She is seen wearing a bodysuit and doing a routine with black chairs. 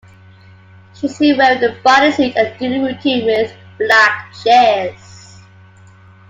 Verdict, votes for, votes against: accepted, 2, 0